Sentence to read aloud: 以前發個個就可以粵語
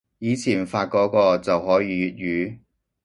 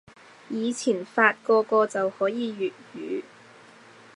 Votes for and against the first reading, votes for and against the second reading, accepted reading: 0, 2, 2, 0, second